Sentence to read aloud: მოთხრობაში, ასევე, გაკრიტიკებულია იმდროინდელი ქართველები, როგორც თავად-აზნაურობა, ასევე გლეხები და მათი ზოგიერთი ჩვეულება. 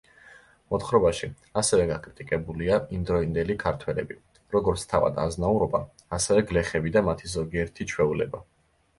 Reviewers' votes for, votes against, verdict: 2, 0, accepted